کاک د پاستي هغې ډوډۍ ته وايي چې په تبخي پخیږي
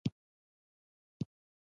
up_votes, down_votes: 1, 2